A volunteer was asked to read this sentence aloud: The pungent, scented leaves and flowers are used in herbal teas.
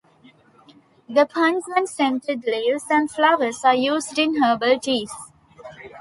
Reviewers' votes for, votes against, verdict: 3, 1, accepted